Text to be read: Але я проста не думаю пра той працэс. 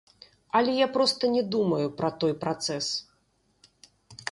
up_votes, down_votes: 0, 2